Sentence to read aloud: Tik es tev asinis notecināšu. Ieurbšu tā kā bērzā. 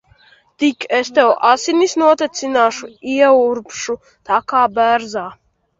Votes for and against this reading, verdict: 2, 0, accepted